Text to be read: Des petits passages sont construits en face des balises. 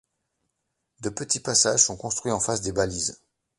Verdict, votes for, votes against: rejected, 1, 2